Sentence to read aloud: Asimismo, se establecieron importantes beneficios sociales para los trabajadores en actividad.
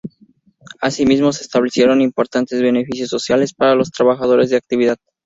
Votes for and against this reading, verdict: 2, 0, accepted